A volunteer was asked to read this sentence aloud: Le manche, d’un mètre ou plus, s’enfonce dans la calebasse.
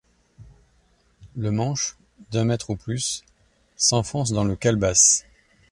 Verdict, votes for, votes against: rejected, 1, 2